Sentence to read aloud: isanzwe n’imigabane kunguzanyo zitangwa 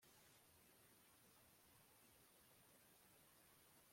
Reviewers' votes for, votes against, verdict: 0, 2, rejected